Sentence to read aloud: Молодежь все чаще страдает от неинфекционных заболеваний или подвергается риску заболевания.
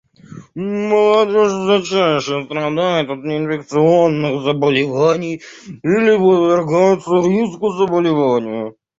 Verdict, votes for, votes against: rejected, 0, 2